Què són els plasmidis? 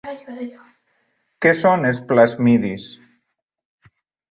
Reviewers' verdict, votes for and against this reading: rejected, 0, 2